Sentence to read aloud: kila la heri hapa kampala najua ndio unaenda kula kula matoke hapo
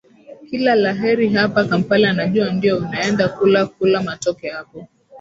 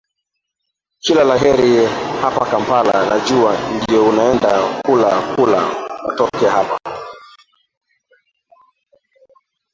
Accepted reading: first